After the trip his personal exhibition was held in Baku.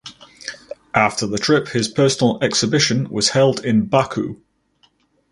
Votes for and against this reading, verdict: 4, 0, accepted